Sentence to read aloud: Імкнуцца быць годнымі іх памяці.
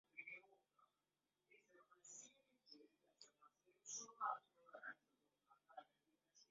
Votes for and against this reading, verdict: 0, 2, rejected